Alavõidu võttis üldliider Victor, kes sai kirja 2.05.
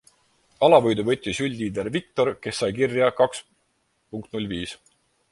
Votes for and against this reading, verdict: 0, 2, rejected